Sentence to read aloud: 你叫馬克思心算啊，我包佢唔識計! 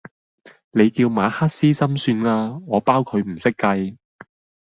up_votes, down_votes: 2, 0